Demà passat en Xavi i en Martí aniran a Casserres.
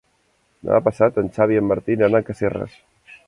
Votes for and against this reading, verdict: 0, 2, rejected